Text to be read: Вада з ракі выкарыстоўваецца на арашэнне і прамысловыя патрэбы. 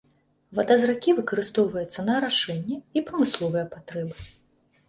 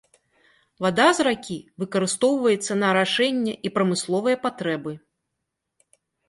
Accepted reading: second